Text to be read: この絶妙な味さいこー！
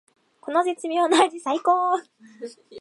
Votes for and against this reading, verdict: 2, 0, accepted